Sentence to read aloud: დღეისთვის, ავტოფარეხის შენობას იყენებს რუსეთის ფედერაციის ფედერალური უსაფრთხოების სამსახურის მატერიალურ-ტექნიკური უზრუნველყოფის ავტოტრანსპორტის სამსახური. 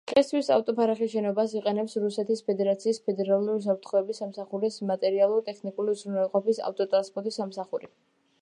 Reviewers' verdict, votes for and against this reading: rejected, 1, 2